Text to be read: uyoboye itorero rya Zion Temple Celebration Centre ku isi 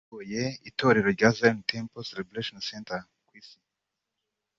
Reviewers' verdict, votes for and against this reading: accepted, 2, 0